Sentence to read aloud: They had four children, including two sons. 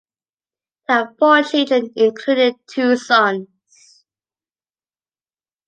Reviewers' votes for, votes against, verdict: 2, 1, accepted